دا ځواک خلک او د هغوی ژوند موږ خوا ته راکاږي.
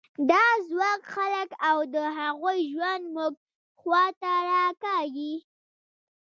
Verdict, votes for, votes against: rejected, 1, 2